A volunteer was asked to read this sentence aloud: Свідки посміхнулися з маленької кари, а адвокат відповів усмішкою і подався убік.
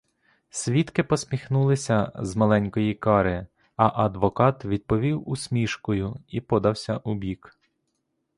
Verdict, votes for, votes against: accepted, 2, 0